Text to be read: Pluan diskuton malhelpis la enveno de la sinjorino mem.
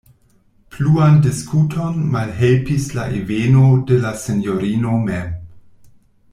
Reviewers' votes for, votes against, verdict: 2, 0, accepted